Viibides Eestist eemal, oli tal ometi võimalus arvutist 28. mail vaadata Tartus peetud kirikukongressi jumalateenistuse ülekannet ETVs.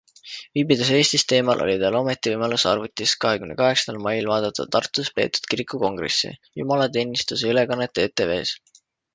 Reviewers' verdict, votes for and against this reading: rejected, 0, 2